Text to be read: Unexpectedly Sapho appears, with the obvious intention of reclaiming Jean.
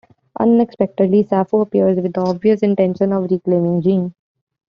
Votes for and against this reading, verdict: 1, 2, rejected